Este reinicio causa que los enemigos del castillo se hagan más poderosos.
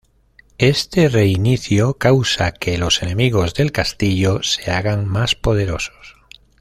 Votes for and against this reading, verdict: 2, 0, accepted